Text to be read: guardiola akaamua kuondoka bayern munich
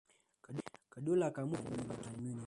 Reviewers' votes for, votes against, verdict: 0, 2, rejected